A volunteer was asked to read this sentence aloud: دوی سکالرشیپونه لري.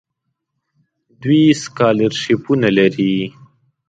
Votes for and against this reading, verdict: 2, 0, accepted